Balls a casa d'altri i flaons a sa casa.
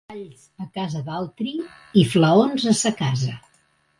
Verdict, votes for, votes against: rejected, 1, 2